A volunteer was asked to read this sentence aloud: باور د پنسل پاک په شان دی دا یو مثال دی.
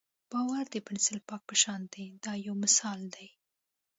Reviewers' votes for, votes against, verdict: 2, 0, accepted